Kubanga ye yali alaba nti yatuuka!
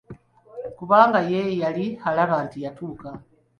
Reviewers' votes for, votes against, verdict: 2, 1, accepted